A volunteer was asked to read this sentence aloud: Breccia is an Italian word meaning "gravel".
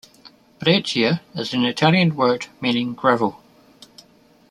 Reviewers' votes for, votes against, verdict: 2, 0, accepted